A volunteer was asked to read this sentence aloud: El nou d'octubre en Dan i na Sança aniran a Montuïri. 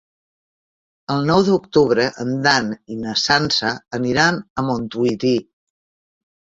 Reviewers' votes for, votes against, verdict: 0, 3, rejected